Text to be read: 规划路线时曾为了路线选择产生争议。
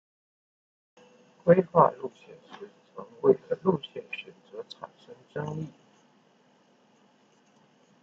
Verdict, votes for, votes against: rejected, 1, 2